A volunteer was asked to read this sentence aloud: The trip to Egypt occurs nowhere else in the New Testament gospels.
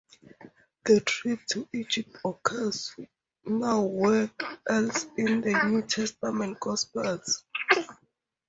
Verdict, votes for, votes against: rejected, 0, 2